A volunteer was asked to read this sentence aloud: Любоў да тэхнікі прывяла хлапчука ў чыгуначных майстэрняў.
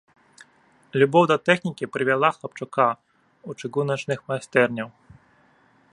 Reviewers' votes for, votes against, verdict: 0, 2, rejected